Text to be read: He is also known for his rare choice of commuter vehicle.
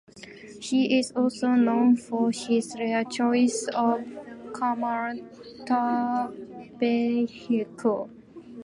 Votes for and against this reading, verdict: 0, 2, rejected